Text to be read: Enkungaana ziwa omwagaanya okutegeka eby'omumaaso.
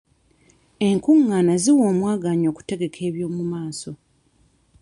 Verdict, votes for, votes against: rejected, 0, 2